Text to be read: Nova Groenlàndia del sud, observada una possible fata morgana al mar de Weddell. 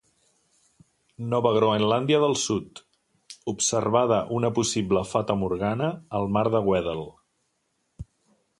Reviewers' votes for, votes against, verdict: 2, 0, accepted